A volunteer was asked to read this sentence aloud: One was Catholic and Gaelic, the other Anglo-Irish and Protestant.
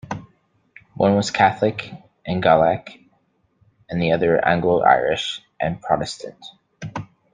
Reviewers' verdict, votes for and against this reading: accepted, 2, 0